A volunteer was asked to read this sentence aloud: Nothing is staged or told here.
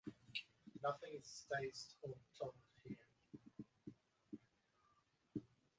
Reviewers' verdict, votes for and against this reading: rejected, 0, 4